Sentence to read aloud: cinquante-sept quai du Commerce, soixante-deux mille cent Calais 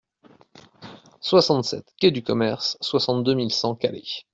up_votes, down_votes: 0, 2